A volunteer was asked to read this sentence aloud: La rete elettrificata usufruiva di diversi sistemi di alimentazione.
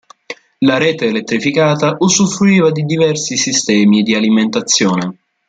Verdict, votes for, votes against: accepted, 2, 0